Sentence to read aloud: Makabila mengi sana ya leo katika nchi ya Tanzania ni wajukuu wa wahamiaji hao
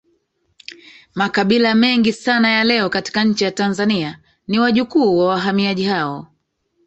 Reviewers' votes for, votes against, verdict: 0, 2, rejected